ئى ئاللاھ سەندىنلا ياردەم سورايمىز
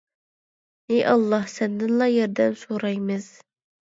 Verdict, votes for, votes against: accepted, 2, 0